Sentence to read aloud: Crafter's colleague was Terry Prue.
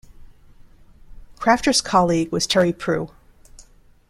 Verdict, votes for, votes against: accepted, 2, 0